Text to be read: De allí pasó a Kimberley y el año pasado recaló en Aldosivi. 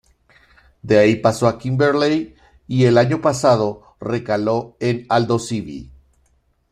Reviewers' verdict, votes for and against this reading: rejected, 1, 2